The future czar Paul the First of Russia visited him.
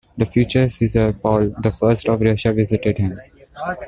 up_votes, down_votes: 1, 2